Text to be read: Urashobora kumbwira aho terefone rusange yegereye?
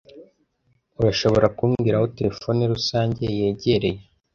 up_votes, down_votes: 2, 0